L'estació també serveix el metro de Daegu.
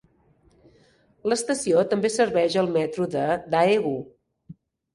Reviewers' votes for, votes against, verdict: 1, 2, rejected